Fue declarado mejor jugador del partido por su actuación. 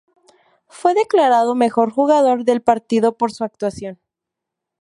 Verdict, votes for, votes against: rejected, 0, 2